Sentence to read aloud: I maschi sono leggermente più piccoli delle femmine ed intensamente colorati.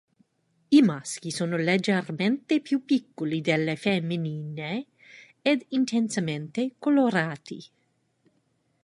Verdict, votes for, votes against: rejected, 2, 3